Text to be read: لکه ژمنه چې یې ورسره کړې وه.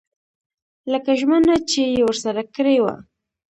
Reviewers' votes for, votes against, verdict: 0, 2, rejected